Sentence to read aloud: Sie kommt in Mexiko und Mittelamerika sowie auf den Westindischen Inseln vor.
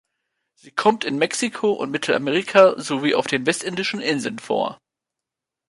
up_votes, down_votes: 0, 2